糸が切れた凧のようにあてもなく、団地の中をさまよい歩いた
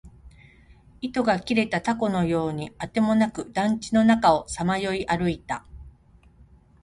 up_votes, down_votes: 2, 1